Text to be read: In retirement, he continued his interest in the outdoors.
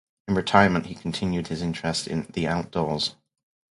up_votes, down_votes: 2, 0